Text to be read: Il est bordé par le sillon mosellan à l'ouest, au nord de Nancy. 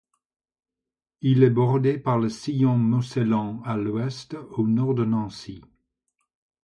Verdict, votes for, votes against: rejected, 0, 2